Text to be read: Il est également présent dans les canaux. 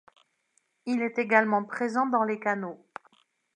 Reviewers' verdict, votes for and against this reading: accepted, 2, 0